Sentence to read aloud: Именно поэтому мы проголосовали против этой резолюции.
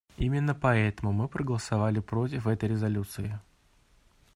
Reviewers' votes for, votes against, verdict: 2, 0, accepted